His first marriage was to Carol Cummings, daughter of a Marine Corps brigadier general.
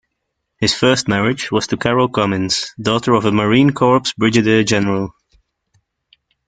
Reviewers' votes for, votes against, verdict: 2, 1, accepted